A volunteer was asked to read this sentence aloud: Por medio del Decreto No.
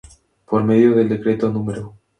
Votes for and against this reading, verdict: 2, 0, accepted